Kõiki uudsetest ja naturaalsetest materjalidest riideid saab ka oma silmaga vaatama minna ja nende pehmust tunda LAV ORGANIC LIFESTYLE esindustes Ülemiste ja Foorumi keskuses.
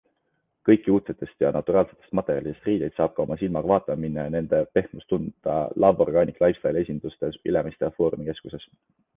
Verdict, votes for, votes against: accepted, 2, 0